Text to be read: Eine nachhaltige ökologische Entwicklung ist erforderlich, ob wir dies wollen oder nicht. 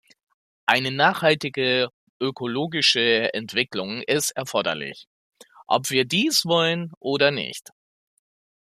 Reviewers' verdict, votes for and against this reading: accepted, 2, 0